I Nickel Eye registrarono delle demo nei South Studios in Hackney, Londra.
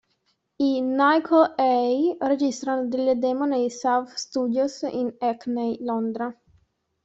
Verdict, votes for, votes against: rejected, 0, 2